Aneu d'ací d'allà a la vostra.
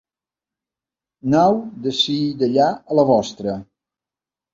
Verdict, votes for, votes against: rejected, 1, 2